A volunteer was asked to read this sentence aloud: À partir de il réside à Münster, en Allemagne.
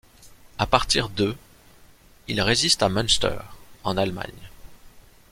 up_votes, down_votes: 0, 2